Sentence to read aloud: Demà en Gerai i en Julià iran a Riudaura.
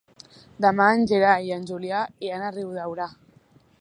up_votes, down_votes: 3, 0